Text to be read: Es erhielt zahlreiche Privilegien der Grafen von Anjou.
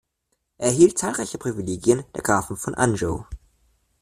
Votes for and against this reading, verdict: 0, 2, rejected